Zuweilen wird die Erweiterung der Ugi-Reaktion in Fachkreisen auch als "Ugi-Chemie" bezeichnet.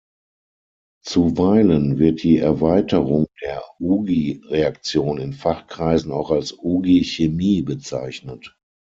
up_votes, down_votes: 6, 0